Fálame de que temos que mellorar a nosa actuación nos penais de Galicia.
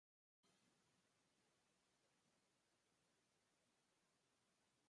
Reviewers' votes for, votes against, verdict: 0, 2, rejected